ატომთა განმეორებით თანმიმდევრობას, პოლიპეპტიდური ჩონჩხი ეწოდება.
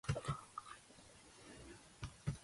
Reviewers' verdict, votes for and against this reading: rejected, 0, 2